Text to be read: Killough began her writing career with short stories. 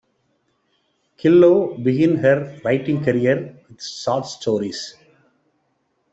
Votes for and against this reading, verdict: 1, 2, rejected